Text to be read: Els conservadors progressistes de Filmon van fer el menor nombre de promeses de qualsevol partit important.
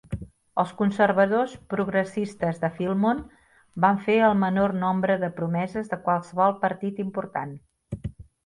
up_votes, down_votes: 3, 0